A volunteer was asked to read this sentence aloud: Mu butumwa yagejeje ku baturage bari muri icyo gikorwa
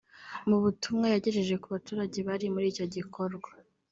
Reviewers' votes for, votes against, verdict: 2, 0, accepted